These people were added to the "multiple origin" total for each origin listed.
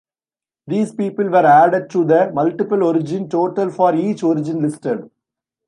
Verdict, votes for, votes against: rejected, 0, 2